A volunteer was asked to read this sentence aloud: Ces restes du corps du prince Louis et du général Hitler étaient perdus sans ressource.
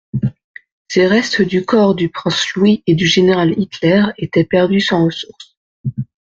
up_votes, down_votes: 2, 0